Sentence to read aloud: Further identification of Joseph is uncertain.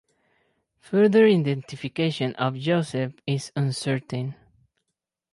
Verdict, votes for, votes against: accepted, 4, 0